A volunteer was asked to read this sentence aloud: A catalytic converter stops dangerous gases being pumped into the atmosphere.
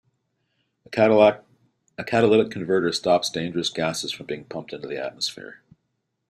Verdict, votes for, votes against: rejected, 0, 2